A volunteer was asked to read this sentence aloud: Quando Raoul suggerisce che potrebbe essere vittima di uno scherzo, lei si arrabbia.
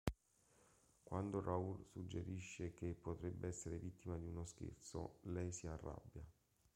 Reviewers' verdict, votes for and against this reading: rejected, 1, 2